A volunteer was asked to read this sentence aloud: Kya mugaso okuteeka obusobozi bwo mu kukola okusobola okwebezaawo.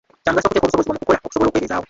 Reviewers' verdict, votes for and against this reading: rejected, 0, 2